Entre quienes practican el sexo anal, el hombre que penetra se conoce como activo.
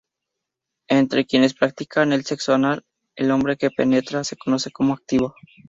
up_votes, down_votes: 2, 0